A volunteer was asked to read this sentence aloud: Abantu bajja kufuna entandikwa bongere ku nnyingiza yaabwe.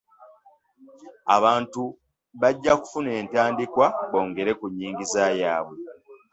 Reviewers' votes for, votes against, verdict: 2, 0, accepted